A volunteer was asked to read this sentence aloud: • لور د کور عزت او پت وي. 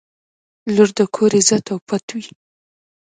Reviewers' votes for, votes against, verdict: 1, 2, rejected